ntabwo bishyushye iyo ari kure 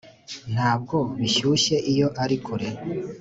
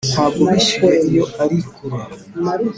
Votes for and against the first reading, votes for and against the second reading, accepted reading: 2, 0, 1, 2, first